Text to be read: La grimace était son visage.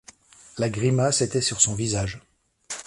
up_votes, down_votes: 1, 2